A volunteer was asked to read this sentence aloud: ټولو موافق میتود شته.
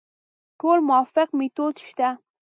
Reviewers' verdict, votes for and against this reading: rejected, 0, 2